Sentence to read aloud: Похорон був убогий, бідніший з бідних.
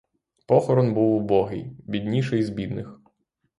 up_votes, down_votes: 6, 0